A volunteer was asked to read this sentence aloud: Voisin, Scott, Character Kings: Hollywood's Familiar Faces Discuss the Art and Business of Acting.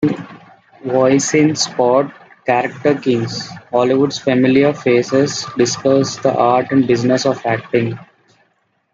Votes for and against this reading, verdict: 1, 2, rejected